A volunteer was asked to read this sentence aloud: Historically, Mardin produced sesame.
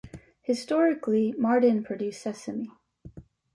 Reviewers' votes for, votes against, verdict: 2, 0, accepted